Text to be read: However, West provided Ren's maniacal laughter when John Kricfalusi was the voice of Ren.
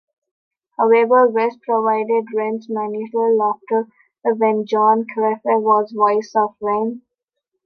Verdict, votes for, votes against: rejected, 0, 2